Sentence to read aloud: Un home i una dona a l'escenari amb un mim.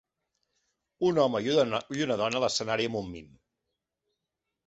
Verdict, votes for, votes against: rejected, 0, 3